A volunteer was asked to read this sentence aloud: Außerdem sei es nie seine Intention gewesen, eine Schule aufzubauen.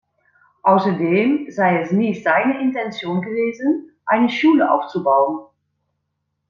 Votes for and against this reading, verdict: 2, 0, accepted